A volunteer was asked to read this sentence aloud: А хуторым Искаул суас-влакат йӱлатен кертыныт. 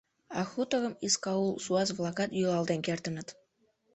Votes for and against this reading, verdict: 0, 2, rejected